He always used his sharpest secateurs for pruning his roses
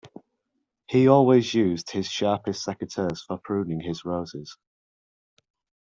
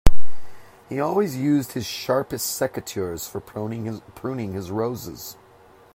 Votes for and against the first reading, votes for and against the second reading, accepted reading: 2, 0, 0, 2, first